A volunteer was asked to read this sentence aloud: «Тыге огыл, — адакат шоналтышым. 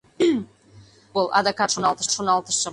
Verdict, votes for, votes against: rejected, 0, 2